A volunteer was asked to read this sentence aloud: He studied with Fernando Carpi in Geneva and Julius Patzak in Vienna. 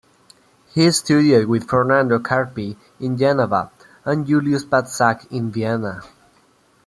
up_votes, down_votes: 2, 1